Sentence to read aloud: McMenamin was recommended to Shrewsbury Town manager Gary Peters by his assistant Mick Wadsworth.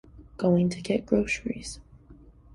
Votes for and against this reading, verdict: 1, 3, rejected